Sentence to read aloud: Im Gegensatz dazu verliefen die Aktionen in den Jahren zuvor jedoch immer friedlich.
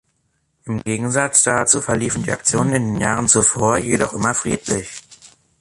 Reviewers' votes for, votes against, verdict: 3, 1, accepted